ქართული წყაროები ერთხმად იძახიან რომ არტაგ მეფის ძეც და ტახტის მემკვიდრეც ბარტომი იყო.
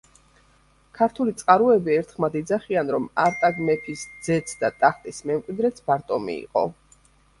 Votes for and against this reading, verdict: 2, 0, accepted